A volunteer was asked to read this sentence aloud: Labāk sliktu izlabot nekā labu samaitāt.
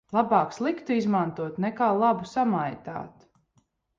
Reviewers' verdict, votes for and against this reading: rejected, 0, 2